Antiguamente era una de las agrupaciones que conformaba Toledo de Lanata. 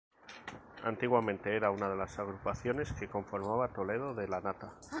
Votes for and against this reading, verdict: 2, 0, accepted